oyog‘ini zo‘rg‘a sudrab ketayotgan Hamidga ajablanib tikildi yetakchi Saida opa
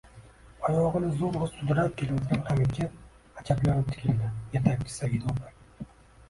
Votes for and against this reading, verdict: 0, 2, rejected